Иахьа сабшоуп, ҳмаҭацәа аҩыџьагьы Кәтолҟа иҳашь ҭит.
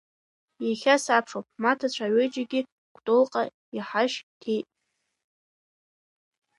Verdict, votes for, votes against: rejected, 0, 2